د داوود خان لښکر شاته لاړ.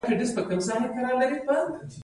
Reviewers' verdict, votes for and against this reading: rejected, 0, 2